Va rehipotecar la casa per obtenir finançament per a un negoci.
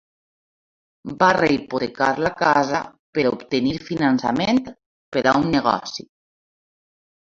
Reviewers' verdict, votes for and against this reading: rejected, 1, 2